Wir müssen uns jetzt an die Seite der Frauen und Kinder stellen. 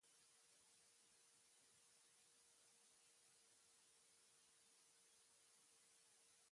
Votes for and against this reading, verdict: 0, 2, rejected